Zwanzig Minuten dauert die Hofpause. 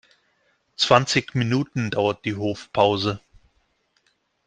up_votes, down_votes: 2, 0